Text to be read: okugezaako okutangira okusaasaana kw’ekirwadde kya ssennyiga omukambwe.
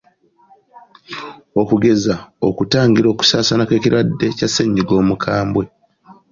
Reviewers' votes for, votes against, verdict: 0, 2, rejected